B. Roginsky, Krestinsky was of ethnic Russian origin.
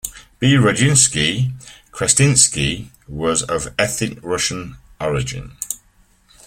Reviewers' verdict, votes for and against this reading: rejected, 1, 2